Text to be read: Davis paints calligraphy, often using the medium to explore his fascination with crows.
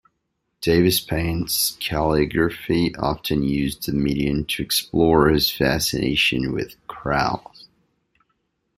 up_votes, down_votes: 0, 2